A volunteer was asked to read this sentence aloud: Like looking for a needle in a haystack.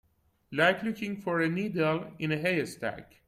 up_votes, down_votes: 0, 2